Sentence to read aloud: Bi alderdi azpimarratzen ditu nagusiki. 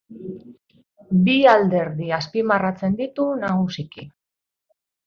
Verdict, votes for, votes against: accepted, 7, 0